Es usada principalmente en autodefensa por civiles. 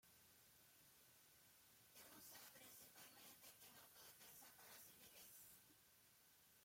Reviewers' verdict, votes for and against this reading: rejected, 0, 2